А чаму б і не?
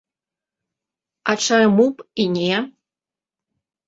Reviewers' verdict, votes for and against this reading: accepted, 4, 2